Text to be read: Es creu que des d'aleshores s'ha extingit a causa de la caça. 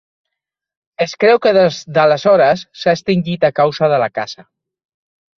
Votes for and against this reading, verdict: 2, 1, accepted